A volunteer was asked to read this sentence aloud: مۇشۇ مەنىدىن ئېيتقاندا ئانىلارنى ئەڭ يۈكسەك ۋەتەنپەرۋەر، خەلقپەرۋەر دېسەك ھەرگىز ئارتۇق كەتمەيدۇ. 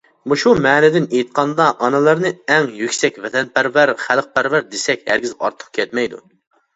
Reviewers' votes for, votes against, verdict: 3, 0, accepted